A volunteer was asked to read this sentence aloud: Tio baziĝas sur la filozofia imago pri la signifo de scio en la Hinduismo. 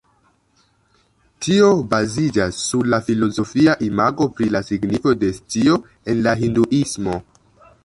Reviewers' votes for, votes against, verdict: 1, 2, rejected